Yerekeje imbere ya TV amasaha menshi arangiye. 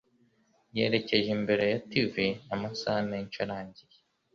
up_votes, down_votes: 2, 0